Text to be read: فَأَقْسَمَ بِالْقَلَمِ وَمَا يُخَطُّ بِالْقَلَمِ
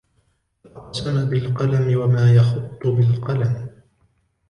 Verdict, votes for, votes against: rejected, 0, 2